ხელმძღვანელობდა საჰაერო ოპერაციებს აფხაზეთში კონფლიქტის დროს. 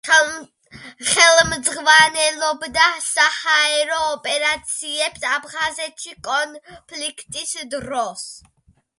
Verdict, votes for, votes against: accepted, 2, 1